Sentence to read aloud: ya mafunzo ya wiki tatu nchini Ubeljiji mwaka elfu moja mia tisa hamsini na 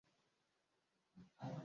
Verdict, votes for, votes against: rejected, 0, 2